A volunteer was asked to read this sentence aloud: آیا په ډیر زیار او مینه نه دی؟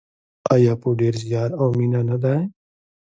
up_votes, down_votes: 0, 2